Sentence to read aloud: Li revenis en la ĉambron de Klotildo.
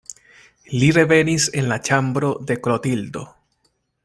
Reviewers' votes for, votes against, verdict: 0, 2, rejected